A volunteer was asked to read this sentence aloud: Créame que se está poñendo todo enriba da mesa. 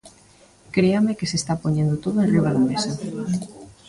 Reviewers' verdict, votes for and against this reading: rejected, 1, 2